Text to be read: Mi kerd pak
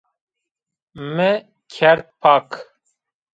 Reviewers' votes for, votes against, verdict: 0, 2, rejected